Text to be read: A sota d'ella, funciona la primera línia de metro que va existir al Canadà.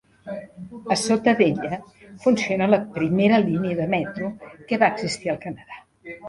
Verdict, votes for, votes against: rejected, 1, 3